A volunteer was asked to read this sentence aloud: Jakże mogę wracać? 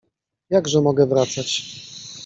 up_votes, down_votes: 2, 0